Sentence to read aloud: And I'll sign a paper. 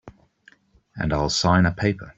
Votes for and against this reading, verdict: 2, 0, accepted